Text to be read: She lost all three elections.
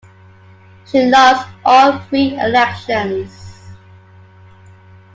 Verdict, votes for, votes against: accepted, 2, 1